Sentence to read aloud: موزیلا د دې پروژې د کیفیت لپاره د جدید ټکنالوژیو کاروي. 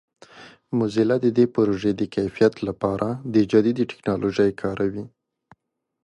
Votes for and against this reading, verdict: 3, 0, accepted